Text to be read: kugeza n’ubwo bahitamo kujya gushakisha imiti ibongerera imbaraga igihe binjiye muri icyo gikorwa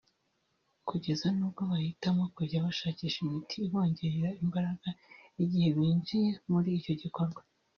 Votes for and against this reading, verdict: 0, 2, rejected